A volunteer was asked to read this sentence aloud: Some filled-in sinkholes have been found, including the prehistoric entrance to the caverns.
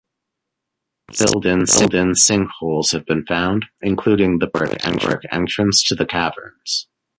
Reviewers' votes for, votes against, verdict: 0, 2, rejected